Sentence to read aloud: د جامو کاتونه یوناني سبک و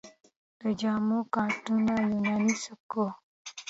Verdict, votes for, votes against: accepted, 2, 0